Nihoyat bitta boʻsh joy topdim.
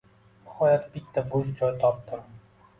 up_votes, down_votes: 2, 0